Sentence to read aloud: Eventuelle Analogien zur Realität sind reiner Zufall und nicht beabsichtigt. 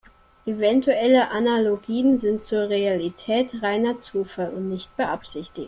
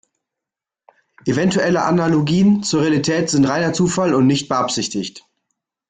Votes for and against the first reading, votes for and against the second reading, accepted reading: 0, 2, 2, 0, second